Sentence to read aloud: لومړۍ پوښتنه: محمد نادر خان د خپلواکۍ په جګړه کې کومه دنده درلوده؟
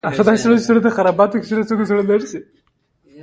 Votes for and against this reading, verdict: 3, 1, accepted